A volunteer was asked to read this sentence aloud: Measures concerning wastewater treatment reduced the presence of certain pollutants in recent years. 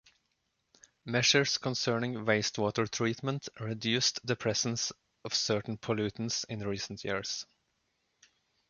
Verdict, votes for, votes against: accepted, 2, 0